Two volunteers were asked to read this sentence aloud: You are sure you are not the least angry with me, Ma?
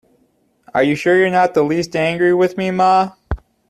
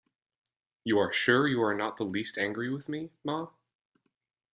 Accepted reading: second